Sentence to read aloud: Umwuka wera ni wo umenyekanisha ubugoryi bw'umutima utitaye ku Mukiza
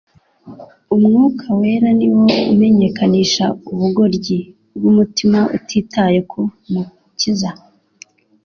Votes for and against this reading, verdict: 2, 0, accepted